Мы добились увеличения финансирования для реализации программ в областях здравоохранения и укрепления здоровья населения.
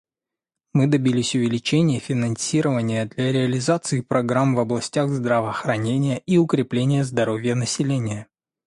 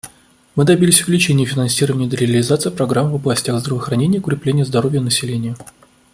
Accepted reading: first